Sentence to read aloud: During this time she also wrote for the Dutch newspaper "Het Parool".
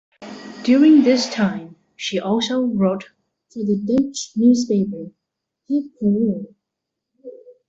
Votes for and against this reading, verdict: 2, 0, accepted